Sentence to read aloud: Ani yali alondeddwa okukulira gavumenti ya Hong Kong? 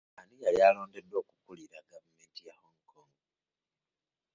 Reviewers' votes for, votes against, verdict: 2, 1, accepted